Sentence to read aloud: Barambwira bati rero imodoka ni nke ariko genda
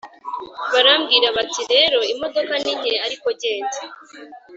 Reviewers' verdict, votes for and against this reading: accepted, 2, 0